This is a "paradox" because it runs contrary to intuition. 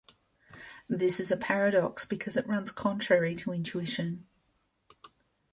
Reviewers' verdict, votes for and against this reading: accepted, 2, 0